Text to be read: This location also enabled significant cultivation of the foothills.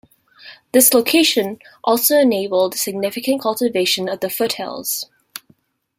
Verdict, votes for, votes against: accepted, 2, 0